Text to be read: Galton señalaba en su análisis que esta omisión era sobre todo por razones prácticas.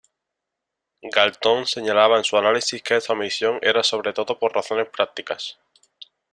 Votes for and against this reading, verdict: 1, 2, rejected